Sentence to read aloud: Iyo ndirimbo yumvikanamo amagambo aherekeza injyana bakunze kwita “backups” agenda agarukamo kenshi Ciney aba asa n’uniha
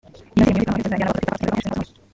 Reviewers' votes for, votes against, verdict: 0, 2, rejected